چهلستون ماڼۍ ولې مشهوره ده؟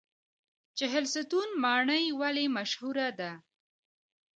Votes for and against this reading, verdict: 2, 1, accepted